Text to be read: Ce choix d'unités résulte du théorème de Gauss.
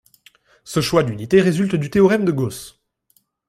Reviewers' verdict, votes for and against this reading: accepted, 2, 0